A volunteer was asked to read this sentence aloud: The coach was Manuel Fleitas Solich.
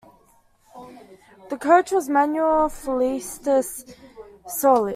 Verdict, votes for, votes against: rejected, 0, 2